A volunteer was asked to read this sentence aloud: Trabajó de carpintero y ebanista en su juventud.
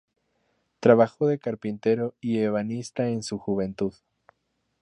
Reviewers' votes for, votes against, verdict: 0, 2, rejected